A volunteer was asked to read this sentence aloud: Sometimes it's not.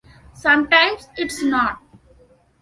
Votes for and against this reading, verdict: 2, 0, accepted